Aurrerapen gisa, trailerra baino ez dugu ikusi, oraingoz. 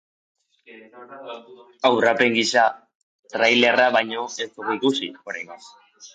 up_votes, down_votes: 1, 2